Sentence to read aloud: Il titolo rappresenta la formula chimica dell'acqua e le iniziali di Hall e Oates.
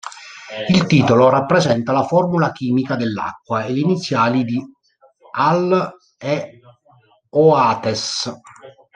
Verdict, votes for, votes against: rejected, 1, 2